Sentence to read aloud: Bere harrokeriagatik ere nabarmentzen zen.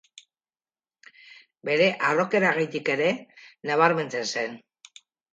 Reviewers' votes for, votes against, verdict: 0, 2, rejected